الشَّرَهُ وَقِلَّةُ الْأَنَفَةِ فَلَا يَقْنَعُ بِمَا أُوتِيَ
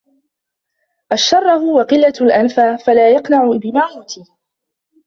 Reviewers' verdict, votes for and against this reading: rejected, 2, 3